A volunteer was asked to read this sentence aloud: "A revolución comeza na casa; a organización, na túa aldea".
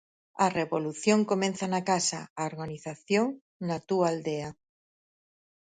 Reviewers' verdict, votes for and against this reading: rejected, 0, 4